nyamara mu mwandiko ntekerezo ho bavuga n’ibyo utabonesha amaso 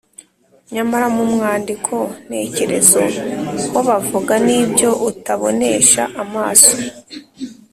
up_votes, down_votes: 3, 0